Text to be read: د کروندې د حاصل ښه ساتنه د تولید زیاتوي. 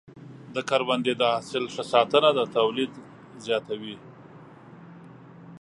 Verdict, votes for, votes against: accepted, 2, 0